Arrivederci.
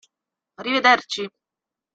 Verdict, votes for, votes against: accepted, 2, 0